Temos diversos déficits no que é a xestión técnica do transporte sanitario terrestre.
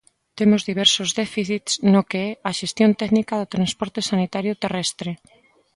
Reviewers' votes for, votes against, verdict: 2, 0, accepted